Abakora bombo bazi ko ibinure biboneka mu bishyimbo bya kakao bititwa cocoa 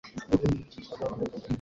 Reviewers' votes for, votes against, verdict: 0, 3, rejected